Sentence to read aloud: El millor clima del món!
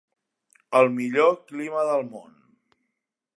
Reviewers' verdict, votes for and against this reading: accepted, 3, 0